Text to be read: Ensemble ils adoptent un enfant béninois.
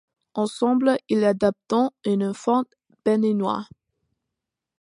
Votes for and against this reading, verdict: 2, 1, accepted